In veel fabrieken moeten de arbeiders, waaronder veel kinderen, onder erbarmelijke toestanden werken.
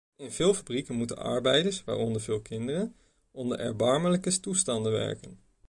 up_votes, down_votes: 1, 2